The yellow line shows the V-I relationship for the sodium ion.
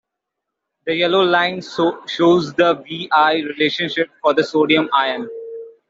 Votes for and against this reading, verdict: 1, 2, rejected